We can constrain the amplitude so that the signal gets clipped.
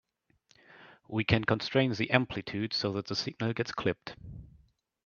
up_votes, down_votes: 2, 0